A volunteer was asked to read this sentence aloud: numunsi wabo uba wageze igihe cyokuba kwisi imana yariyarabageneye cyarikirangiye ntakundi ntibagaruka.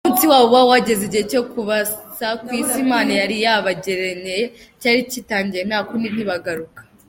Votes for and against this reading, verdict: 0, 2, rejected